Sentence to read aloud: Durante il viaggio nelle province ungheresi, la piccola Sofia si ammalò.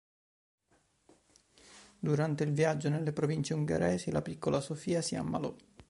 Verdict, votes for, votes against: accepted, 2, 0